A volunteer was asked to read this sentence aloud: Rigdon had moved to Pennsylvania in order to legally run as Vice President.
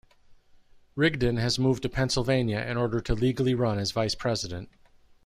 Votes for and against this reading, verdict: 0, 2, rejected